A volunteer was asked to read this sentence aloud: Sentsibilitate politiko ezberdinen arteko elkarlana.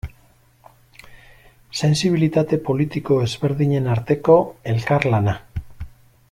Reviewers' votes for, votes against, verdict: 0, 2, rejected